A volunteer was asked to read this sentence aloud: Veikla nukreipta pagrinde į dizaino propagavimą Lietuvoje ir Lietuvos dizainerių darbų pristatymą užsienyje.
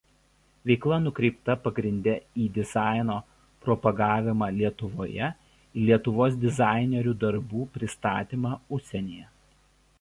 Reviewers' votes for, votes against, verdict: 2, 0, accepted